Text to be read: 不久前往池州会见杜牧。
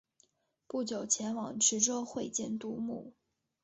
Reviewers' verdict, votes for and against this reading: accepted, 3, 1